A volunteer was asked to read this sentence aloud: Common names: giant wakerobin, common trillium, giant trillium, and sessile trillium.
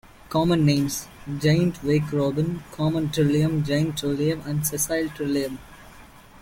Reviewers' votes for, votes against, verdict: 0, 2, rejected